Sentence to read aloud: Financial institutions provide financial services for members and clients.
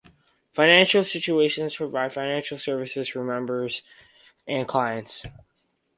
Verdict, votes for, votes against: rejected, 0, 2